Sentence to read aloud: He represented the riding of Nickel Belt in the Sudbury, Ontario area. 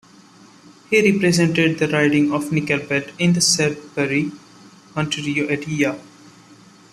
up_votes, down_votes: 0, 2